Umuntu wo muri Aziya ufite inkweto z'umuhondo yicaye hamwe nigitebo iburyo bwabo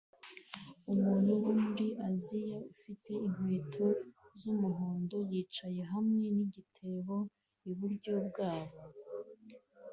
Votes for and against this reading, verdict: 2, 0, accepted